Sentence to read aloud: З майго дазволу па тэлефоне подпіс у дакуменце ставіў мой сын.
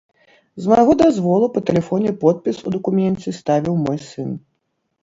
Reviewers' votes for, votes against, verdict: 2, 0, accepted